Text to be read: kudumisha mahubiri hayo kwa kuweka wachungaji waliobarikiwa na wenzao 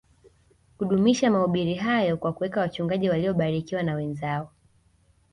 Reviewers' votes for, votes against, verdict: 1, 2, rejected